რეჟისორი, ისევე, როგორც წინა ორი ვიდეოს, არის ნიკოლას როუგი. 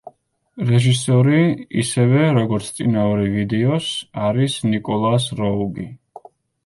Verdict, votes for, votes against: rejected, 1, 2